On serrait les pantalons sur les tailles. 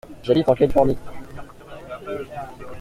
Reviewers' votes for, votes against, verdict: 0, 2, rejected